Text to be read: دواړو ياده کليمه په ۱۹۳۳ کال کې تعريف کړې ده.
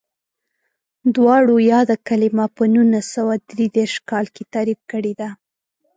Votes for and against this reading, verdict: 0, 2, rejected